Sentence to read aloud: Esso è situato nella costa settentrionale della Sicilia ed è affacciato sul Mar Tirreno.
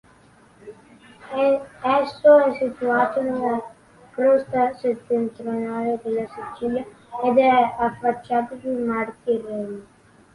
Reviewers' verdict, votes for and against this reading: rejected, 0, 2